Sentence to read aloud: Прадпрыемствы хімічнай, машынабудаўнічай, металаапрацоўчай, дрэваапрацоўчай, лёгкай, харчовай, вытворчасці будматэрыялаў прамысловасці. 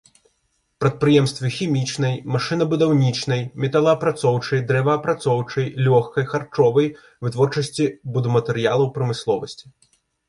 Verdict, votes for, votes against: rejected, 0, 2